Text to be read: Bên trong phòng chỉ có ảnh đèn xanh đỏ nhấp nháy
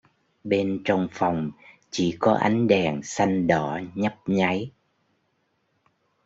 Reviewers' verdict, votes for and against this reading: rejected, 1, 2